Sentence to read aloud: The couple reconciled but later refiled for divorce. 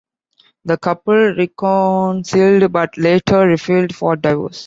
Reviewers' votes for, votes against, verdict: 1, 2, rejected